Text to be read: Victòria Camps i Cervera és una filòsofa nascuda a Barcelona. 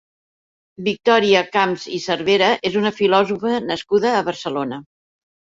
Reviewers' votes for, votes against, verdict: 1, 2, rejected